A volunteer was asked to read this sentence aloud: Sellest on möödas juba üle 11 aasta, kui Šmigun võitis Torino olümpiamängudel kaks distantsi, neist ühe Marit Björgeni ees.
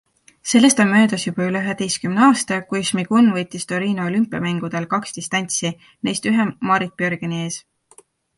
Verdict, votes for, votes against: rejected, 0, 2